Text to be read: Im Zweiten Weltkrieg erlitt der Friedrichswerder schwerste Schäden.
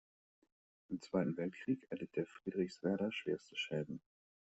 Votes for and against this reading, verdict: 2, 0, accepted